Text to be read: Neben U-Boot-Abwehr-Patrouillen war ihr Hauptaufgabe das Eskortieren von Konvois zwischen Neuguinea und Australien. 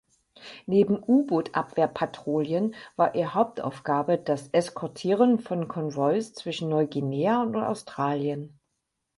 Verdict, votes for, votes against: accepted, 4, 0